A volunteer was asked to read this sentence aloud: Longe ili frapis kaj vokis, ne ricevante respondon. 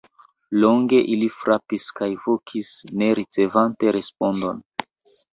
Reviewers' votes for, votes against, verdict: 0, 2, rejected